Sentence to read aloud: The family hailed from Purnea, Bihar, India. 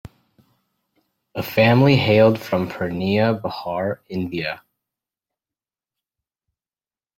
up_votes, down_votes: 1, 2